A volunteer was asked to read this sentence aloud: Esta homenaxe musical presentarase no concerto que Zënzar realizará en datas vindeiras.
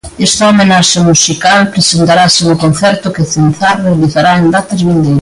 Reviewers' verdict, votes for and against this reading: rejected, 0, 2